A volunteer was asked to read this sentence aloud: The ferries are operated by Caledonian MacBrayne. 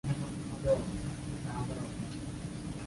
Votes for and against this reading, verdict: 0, 2, rejected